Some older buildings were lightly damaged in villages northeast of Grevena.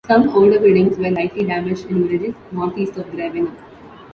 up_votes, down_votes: 1, 3